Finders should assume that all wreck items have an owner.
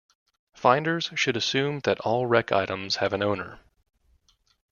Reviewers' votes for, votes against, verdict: 2, 0, accepted